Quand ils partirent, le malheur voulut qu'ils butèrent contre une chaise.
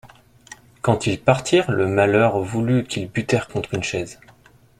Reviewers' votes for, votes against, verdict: 2, 0, accepted